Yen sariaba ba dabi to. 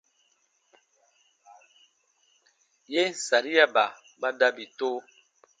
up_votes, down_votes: 2, 0